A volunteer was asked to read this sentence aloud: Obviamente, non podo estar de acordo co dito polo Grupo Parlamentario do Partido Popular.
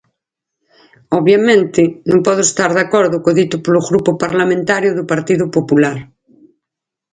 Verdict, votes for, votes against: accepted, 4, 2